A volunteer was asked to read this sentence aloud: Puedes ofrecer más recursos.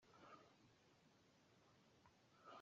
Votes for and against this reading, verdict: 0, 2, rejected